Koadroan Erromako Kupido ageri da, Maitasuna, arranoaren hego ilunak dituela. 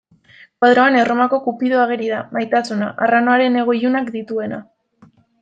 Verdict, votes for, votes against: rejected, 0, 2